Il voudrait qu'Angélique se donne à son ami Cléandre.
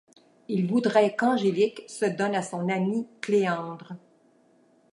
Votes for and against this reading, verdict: 2, 0, accepted